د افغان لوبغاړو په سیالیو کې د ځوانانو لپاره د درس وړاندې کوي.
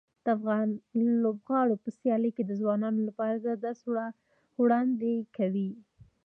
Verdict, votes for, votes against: rejected, 0, 2